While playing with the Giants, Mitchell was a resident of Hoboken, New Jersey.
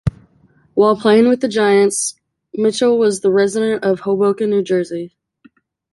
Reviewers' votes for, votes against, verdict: 2, 1, accepted